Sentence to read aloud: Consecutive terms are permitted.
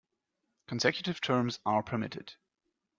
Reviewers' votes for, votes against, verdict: 2, 0, accepted